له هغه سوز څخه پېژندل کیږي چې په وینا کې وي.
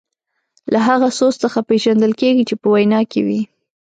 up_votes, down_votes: 2, 0